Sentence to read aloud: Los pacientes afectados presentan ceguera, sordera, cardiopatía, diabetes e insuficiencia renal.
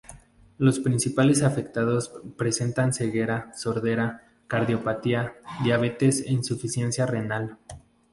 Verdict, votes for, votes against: rejected, 0, 2